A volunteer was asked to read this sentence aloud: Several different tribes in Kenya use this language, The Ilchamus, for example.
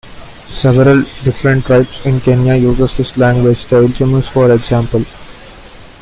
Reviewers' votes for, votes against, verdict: 0, 2, rejected